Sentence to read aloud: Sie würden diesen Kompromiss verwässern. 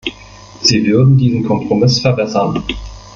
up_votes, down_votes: 1, 2